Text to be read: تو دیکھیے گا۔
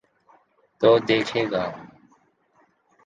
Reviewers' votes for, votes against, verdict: 3, 0, accepted